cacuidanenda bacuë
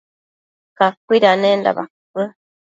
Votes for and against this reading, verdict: 2, 0, accepted